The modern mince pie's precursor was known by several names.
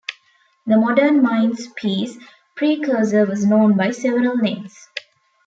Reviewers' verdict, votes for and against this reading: rejected, 0, 2